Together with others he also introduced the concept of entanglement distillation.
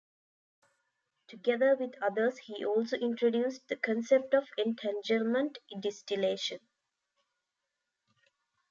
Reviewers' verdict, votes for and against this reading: rejected, 0, 2